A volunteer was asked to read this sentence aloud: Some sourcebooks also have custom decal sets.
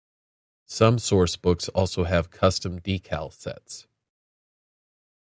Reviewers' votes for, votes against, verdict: 0, 2, rejected